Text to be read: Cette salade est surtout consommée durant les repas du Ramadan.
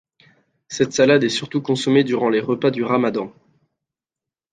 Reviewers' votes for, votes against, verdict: 2, 0, accepted